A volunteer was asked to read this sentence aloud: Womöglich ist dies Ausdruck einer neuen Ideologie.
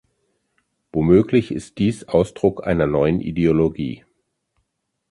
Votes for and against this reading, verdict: 2, 0, accepted